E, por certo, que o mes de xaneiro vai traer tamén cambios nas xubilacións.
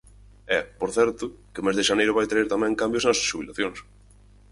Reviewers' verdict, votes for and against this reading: rejected, 0, 4